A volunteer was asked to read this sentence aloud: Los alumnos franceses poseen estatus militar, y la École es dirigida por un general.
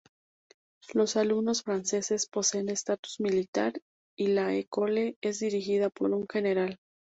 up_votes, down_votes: 2, 0